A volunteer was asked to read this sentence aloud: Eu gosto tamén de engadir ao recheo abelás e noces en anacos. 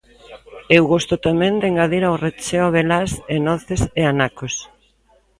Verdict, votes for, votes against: rejected, 0, 2